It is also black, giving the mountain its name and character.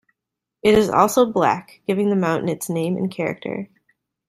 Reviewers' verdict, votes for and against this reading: accepted, 2, 0